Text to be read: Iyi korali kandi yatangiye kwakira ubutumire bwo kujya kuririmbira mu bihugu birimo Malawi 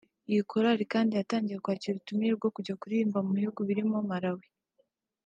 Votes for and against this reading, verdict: 2, 0, accepted